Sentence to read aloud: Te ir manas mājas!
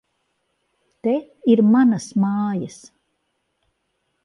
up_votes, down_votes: 4, 0